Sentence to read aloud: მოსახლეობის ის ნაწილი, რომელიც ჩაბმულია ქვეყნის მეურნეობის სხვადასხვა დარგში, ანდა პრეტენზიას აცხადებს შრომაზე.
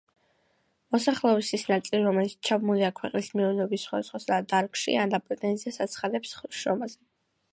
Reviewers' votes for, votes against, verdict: 2, 0, accepted